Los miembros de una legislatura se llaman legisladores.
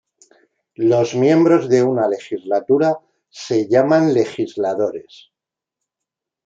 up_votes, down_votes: 2, 0